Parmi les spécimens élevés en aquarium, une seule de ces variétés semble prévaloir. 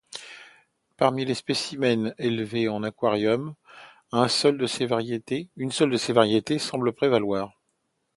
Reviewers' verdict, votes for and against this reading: rejected, 0, 2